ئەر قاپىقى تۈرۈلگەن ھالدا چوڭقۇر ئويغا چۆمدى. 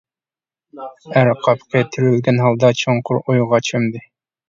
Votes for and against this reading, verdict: 1, 2, rejected